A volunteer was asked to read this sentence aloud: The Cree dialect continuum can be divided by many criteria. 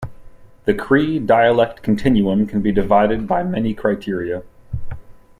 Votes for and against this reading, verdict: 2, 0, accepted